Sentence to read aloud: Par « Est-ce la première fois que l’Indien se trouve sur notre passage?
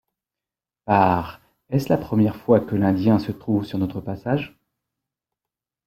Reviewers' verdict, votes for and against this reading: accepted, 3, 0